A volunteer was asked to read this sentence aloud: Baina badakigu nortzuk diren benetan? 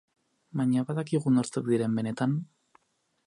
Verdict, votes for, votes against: accepted, 6, 0